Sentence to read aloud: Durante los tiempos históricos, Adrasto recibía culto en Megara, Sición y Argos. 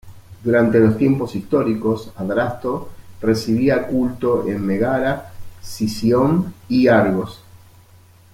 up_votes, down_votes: 1, 2